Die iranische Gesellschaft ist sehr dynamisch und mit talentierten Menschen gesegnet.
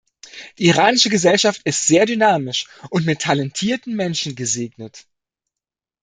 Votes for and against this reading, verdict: 2, 0, accepted